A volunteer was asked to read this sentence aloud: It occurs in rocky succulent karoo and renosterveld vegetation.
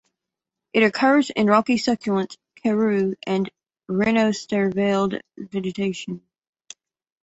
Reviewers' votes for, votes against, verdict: 1, 2, rejected